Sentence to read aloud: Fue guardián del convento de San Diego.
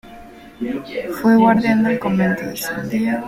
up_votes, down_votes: 2, 0